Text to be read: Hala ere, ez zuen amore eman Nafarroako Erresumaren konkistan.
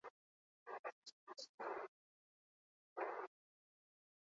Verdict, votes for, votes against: rejected, 0, 4